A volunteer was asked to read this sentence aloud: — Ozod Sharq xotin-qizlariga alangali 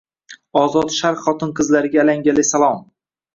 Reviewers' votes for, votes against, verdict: 1, 2, rejected